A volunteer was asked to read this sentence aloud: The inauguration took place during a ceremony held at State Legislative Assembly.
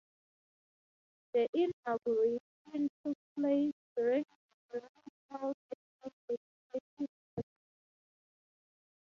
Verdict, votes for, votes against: rejected, 0, 3